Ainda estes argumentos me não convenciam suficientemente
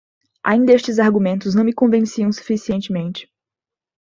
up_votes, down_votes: 2, 1